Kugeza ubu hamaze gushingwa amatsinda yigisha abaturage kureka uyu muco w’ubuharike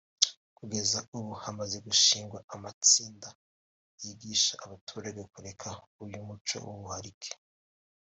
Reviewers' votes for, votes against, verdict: 2, 1, accepted